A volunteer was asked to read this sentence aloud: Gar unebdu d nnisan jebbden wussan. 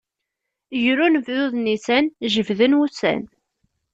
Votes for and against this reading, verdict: 1, 2, rejected